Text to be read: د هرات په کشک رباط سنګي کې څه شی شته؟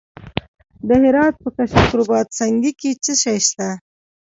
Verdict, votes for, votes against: accepted, 2, 0